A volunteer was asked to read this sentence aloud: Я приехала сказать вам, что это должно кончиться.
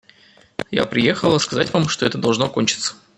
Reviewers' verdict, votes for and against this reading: accepted, 2, 0